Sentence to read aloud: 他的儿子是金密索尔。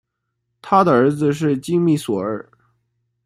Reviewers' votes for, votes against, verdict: 1, 2, rejected